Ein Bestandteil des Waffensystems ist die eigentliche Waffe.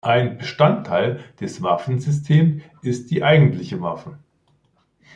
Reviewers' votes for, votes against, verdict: 1, 2, rejected